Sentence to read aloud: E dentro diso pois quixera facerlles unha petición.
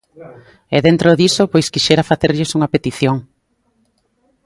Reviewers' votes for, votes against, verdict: 2, 0, accepted